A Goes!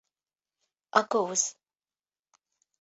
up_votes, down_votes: 1, 2